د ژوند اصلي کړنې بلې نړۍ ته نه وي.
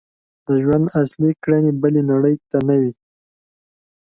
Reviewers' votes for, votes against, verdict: 2, 0, accepted